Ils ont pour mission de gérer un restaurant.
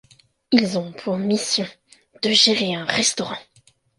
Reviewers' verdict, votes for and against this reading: accepted, 2, 0